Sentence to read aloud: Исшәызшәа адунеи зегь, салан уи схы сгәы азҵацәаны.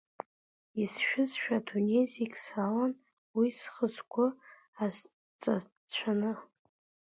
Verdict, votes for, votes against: rejected, 1, 2